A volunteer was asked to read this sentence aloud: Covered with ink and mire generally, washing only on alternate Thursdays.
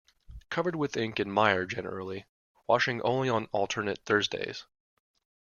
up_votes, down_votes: 2, 0